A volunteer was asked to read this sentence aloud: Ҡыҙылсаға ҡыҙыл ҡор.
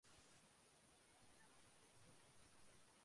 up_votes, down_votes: 1, 2